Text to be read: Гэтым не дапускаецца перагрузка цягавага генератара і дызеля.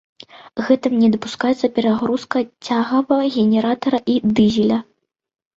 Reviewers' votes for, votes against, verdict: 1, 2, rejected